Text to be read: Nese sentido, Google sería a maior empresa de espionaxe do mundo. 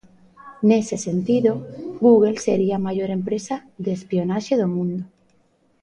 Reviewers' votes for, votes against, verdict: 1, 2, rejected